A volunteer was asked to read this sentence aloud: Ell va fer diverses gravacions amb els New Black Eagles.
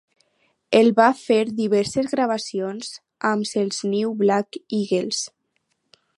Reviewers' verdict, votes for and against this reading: accepted, 4, 0